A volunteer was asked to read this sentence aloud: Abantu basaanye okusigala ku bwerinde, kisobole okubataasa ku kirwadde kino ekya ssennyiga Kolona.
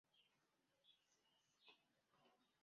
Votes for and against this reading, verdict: 1, 2, rejected